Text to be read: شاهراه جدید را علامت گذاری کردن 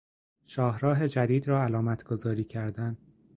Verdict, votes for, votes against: accepted, 2, 0